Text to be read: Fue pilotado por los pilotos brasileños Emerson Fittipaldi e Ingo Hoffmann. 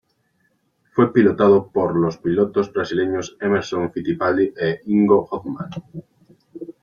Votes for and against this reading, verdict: 2, 0, accepted